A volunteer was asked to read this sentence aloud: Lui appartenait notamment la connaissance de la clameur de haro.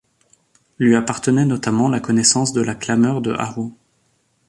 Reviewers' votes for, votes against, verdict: 2, 0, accepted